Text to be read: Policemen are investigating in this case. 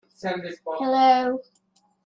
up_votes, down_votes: 0, 2